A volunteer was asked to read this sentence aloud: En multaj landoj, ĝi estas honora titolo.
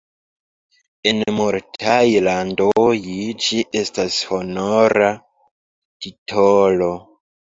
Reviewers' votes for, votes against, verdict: 0, 2, rejected